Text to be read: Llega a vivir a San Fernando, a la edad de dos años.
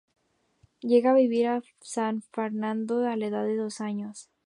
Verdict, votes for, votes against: rejected, 0, 2